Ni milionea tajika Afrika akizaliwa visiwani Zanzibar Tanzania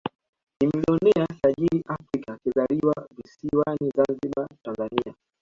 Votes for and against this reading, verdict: 2, 0, accepted